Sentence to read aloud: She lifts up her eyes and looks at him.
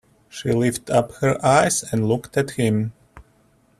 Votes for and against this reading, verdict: 0, 2, rejected